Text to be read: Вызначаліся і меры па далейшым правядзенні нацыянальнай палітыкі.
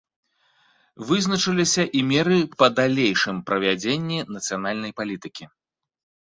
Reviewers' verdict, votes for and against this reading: rejected, 1, 2